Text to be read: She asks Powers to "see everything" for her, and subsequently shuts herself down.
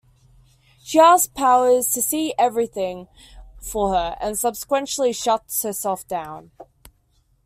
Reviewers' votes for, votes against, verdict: 1, 2, rejected